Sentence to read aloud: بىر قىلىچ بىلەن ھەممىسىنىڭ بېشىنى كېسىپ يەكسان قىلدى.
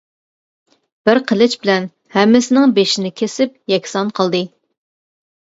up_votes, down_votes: 2, 0